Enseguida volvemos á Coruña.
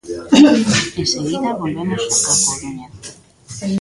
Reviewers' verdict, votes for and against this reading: rejected, 0, 2